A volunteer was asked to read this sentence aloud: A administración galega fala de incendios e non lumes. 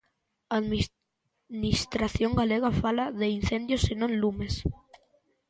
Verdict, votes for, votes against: rejected, 0, 2